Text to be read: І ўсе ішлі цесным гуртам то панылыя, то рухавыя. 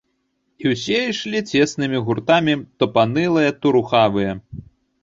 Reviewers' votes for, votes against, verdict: 1, 2, rejected